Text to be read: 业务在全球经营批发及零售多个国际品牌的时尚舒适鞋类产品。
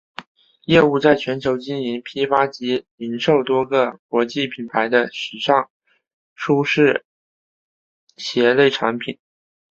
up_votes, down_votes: 3, 1